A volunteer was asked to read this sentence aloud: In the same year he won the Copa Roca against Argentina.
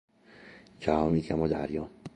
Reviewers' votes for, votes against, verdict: 0, 2, rejected